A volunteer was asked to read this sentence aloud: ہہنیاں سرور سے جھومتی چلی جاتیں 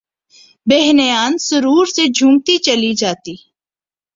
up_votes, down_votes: 2, 0